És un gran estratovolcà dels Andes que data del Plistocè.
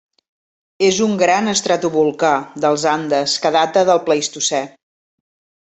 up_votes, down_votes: 1, 2